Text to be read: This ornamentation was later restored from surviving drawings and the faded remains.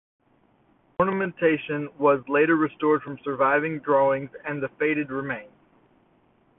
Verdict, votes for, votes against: accepted, 2, 1